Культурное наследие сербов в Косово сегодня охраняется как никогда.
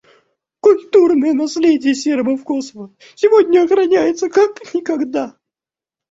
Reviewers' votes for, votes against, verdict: 2, 1, accepted